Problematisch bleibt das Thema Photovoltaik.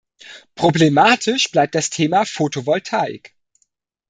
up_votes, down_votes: 2, 0